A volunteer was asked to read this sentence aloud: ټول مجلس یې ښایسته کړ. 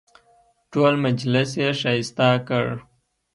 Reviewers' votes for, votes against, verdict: 0, 2, rejected